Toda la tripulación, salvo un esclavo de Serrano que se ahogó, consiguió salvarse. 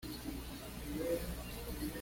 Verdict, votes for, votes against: rejected, 1, 2